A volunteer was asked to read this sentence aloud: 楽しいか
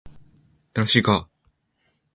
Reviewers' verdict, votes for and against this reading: accepted, 2, 0